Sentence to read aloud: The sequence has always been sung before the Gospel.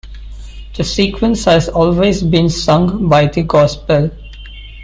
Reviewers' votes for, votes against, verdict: 0, 2, rejected